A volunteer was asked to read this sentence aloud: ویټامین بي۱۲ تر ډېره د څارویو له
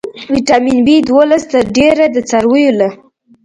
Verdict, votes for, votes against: rejected, 0, 2